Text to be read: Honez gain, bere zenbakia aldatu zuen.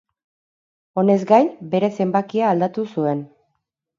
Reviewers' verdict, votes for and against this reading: accepted, 4, 0